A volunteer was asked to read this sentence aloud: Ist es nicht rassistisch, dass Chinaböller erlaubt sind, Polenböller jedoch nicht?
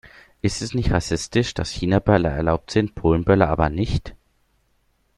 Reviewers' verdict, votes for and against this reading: rejected, 0, 2